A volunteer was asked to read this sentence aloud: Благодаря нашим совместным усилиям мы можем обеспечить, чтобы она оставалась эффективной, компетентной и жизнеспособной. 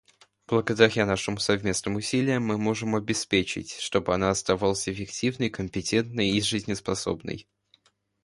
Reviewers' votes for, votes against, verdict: 0, 2, rejected